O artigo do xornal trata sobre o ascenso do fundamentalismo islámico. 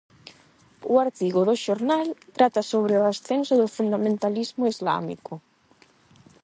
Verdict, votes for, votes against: accepted, 8, 0